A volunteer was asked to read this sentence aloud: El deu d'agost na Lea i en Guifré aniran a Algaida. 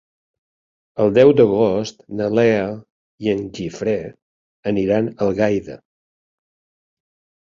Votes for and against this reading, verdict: 1, 2, rejected